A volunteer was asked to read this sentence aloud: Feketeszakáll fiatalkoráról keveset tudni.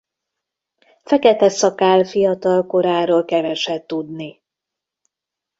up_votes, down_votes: 1, 2